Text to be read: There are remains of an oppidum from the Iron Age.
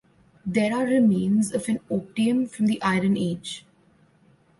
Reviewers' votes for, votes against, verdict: 0, 2, rejected